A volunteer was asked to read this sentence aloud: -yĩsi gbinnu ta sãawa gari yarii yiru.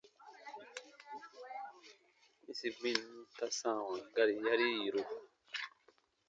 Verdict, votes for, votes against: accepted, 2, 0